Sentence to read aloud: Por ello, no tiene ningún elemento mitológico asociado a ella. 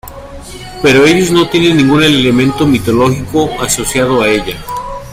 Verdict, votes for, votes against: rejected, 0, 2